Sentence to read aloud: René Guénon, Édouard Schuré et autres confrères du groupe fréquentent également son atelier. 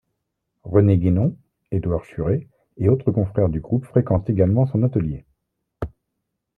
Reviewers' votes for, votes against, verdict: 2, 1, accepted